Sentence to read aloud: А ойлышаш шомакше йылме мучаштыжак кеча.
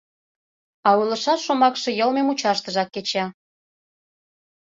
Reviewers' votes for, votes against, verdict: 2, 0, accepted